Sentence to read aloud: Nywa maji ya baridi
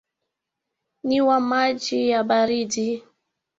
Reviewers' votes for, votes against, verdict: 0, 2, rejected